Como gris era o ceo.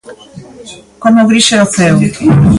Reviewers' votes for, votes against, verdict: 2, 0, accepted